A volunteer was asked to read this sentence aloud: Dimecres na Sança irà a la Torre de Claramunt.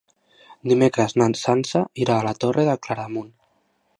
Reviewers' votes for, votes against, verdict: 1, 2, rejected